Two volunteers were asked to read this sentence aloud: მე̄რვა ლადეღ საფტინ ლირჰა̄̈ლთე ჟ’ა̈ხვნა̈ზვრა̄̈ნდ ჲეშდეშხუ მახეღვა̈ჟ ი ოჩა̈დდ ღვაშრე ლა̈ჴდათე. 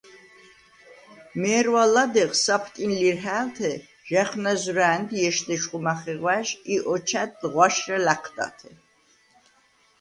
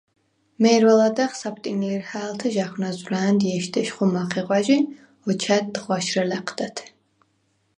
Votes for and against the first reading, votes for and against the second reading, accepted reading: 1, 2, 4, 0, second